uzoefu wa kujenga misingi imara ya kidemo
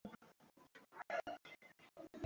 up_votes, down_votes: 0, 2